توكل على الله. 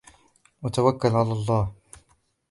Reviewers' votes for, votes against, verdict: 0, 2, rejected